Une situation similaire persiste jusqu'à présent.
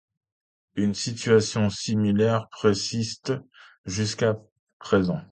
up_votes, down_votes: 0, 2